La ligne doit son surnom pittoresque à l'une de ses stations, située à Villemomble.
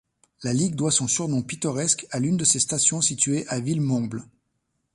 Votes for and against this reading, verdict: 1, 2, rejected